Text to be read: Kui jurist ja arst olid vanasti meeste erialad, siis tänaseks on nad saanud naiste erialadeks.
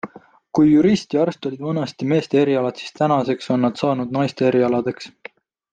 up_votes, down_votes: 2, 0